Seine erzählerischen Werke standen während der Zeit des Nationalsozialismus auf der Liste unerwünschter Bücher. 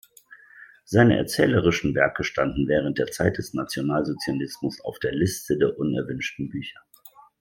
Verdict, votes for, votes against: rejected, 1, 2